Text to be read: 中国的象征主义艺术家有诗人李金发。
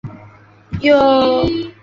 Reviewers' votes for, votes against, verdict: 1, 4, rejected